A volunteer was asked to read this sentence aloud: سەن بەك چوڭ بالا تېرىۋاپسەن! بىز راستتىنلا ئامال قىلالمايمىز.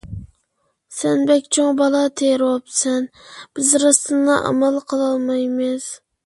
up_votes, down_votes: 2, 1